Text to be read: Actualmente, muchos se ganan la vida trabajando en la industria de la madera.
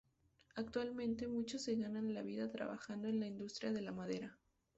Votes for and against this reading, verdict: 2, 2, rejected